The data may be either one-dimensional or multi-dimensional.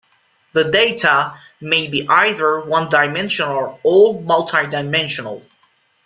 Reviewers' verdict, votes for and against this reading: accepted, 2, 0